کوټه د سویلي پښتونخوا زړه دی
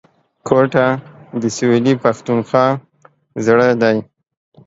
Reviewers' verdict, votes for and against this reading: accepted, 2, 0